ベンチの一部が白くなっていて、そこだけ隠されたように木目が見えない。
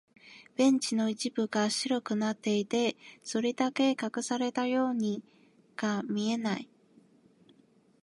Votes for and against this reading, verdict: 0, 2, rejected